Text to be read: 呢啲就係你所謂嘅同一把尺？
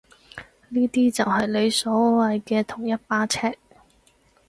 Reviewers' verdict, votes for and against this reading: accepted, 4, 0